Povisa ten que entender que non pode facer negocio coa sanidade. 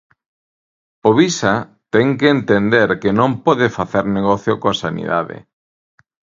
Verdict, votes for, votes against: accepted, 2, 0